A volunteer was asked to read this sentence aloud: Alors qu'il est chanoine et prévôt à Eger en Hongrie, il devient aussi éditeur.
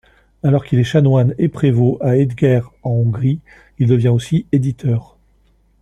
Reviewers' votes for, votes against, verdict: 1, 2, rejected